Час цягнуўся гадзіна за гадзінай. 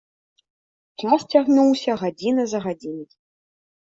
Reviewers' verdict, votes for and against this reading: accepted, 2, 0